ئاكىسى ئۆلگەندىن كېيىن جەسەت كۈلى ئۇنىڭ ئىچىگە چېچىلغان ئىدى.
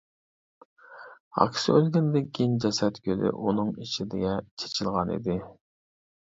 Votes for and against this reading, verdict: 1, 2, rejected